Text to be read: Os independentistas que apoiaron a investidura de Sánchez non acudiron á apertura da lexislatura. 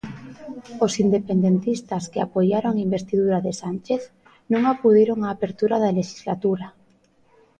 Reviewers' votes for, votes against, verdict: 2, 0, accepted